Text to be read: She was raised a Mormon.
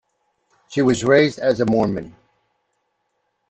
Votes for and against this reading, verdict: 1, 2, rejected